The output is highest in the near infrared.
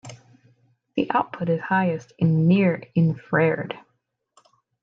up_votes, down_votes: 2, 0